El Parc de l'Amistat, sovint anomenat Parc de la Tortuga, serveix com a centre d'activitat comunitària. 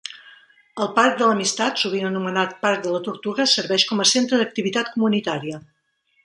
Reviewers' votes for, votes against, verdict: 3, 0, accepted